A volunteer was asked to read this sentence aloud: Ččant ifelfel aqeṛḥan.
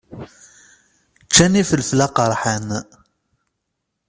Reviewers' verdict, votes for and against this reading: rejected, 1, 2